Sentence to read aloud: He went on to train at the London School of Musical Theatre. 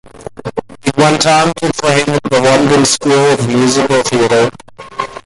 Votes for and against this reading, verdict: 2, 1, accepted